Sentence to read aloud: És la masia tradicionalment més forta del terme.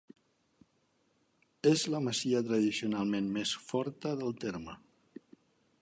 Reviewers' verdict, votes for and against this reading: rejected, 1, 2